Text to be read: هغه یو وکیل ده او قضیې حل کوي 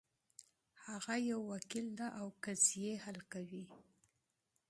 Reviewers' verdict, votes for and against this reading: accepted, 2, 0